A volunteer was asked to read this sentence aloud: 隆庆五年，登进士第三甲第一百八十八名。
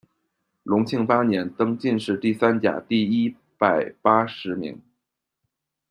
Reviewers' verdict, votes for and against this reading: rejected, 0, 2